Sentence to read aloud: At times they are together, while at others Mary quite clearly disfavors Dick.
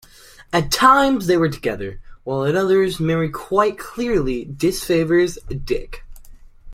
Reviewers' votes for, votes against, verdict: 1, 2, rejected